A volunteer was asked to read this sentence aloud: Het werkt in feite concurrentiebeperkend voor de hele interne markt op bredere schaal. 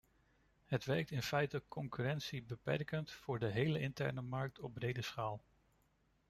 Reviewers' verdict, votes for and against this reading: rejected, 0, 2